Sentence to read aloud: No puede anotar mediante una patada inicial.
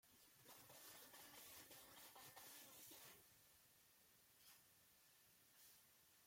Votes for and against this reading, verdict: 0, 2, rejected